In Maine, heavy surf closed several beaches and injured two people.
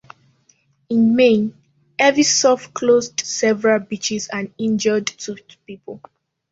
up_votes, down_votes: 1, 2